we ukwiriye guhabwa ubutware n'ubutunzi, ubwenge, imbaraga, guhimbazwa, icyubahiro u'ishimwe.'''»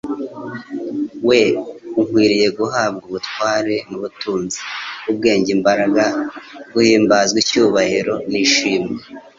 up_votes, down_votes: 2, 0